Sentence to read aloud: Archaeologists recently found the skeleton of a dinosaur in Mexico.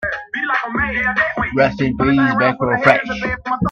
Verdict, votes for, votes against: rejected, 0, 2